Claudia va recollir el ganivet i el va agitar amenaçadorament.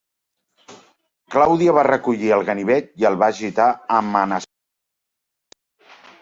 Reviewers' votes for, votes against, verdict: 1, 2, rejected